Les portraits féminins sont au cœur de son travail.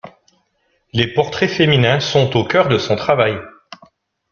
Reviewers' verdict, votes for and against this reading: accepted, 2, 0